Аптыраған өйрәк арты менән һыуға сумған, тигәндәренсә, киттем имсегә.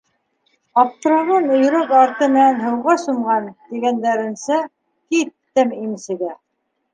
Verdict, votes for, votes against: accepted, 2, 1